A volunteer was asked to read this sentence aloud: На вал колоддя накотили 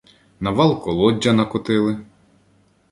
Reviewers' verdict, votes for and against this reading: accepted, 2, 0